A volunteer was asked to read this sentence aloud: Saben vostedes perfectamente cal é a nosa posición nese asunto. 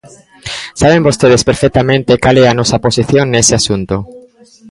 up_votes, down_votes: 1, 2